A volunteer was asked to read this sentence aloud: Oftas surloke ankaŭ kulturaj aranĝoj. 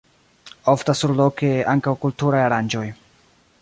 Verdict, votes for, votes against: rejected, 0, 2